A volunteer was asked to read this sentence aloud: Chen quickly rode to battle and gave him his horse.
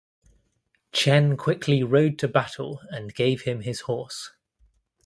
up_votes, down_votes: 2, 0